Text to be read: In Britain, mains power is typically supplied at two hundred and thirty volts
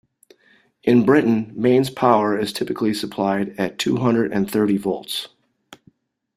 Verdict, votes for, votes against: accepted, 2, 0